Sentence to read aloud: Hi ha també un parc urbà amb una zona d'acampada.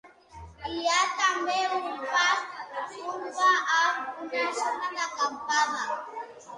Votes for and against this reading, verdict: 0, 2, rejected